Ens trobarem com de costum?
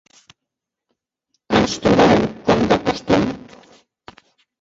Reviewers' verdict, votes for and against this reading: rejected, 0, 2